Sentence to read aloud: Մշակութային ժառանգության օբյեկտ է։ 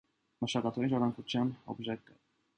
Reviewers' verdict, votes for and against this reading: accepted, 2, 1